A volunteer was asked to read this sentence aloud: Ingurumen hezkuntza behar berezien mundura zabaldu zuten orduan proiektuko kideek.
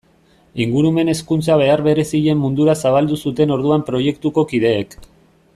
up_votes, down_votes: 2, 0